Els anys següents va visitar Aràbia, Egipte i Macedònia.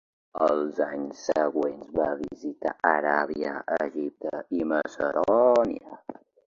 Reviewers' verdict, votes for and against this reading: rejected, 1, 2